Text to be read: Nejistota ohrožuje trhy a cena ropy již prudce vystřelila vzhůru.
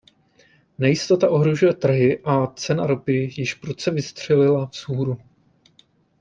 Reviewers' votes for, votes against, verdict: 2, 0, accepted